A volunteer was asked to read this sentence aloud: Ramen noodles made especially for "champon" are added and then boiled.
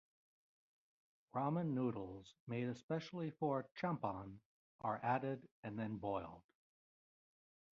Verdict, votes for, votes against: accepted, 2, 0